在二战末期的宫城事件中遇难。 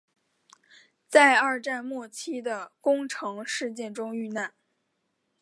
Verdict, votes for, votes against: accepted, 3, 0